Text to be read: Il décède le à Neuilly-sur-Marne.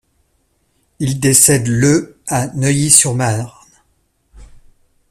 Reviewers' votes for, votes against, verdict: 1, 2, rejected